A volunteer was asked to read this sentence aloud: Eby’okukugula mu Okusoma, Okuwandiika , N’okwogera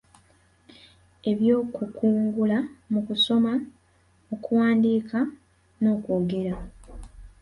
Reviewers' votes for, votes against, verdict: 1, 2, rejected